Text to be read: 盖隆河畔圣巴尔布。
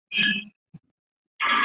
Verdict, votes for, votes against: rejected, 0, 3